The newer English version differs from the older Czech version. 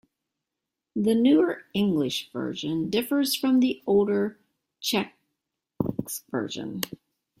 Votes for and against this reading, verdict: 1, 2, rejected